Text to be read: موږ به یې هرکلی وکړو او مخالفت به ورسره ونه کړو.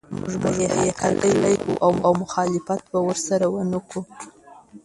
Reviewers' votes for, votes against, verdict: 1, 2, rejected